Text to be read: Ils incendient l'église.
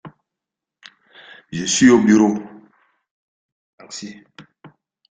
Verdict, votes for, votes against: rejected, 0, 2